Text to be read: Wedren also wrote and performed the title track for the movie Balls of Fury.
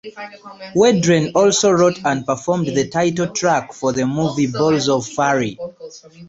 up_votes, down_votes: 0, 2